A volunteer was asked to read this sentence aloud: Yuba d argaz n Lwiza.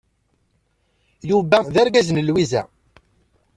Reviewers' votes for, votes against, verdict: 1, 2, rejected